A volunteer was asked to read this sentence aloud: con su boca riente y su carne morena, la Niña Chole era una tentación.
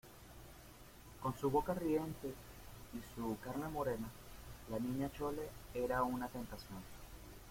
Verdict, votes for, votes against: rejected, 1, 2